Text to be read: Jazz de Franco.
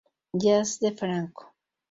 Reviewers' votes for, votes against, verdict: 2, 0, accepted